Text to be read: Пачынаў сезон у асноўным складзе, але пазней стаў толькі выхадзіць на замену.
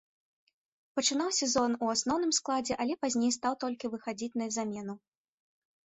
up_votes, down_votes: 2, 1